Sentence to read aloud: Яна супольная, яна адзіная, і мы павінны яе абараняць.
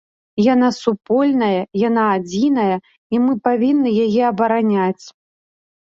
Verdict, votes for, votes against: accepted, 2, 0